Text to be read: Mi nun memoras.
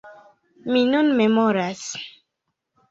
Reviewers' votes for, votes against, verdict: 2, 0, accepted